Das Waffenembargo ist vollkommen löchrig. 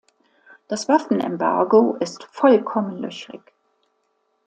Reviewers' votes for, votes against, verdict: 2, 0, accepted